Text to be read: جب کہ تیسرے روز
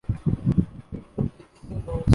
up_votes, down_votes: 0, 2